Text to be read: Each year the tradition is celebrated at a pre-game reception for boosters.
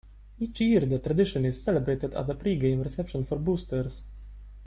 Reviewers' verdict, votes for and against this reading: accepted, 3, 0